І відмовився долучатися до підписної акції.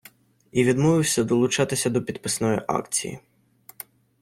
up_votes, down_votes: 2, 0